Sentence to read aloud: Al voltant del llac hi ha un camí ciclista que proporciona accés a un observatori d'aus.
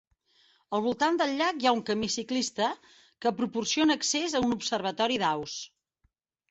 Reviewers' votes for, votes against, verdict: 4, 0, accepted